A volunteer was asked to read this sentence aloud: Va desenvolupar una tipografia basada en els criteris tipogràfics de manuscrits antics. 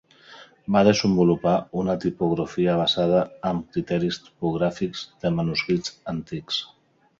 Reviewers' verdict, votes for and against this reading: rejected, 1, 2